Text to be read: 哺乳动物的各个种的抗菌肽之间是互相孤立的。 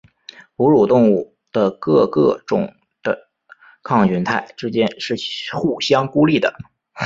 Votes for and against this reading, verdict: 5, 0, accepted